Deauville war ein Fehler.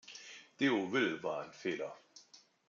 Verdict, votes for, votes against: accepted, 2, 0